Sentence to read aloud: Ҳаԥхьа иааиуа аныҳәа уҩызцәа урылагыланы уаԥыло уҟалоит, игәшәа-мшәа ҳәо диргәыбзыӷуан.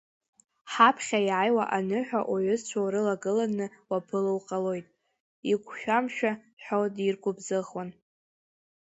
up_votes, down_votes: 2, 3